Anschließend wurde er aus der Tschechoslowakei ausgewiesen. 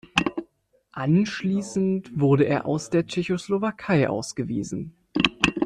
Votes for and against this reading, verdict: 2, 1, accepted